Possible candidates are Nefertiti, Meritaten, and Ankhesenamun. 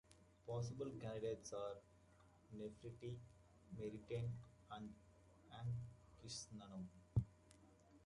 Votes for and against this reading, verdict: 0, 2, rejected